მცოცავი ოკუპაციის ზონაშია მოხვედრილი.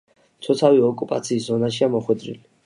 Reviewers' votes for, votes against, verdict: 2, 0, accepted